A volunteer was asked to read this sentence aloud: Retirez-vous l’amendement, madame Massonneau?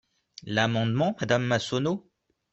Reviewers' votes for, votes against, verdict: 0, 2, rejected